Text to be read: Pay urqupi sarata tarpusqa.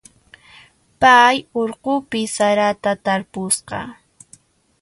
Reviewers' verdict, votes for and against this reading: accepted, 2, 0